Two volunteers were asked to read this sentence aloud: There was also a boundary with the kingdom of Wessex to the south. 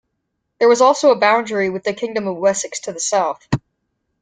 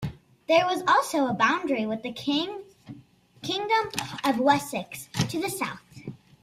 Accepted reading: first